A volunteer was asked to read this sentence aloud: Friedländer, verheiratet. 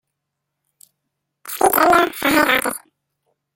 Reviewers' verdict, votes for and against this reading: rejected, 0, 2